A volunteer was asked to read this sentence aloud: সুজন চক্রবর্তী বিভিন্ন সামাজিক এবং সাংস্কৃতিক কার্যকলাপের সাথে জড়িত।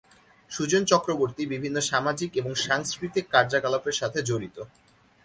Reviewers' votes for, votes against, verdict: 1, 2, rejected